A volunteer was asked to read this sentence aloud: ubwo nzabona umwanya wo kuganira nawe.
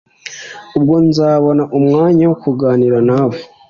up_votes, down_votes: 2, 0